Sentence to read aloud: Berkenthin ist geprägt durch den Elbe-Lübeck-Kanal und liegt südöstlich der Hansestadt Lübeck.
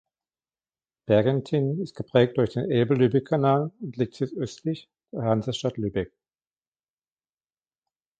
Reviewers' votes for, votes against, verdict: 2, 0, accepted